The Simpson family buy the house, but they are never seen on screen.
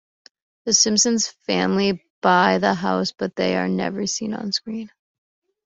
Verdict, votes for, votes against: accepted, 2, 0